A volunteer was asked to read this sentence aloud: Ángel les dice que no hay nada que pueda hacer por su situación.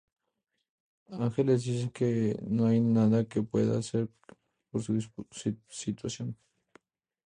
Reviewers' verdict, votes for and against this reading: rejected, 0, 2